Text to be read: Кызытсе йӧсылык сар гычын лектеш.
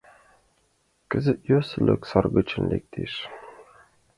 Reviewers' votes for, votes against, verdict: 1, 5, rejected